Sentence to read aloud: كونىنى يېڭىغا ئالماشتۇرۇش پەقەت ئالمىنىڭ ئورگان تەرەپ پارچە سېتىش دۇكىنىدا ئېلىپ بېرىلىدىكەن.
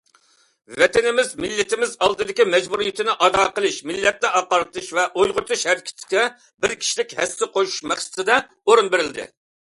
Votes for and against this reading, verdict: 0, 2, rejected